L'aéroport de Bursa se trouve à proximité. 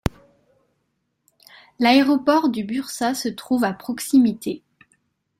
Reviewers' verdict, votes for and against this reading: rejected, 0, 2